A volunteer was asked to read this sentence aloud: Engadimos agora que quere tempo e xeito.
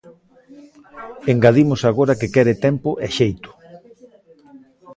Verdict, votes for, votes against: accepted, 3, 0